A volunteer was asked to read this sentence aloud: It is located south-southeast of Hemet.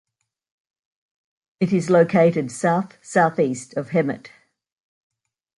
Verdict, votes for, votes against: accepted, 2, 0